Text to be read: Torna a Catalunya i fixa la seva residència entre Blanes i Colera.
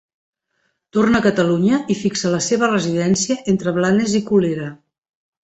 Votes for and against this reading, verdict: 2, 0, accepted